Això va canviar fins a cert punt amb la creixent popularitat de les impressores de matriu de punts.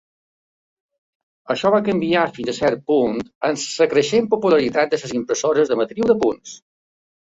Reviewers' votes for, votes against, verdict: 0, 3, rejected